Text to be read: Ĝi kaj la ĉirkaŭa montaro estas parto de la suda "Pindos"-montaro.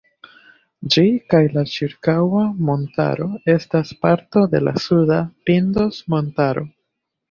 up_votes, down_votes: 2, 0